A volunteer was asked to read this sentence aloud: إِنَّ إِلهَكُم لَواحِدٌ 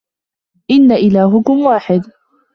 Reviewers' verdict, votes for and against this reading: rejected, 1, 2